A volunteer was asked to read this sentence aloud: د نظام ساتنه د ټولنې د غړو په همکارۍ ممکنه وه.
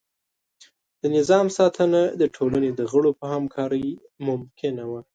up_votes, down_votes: 2, 0